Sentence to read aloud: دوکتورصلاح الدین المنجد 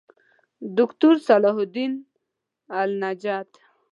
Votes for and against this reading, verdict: 1, 2, rejected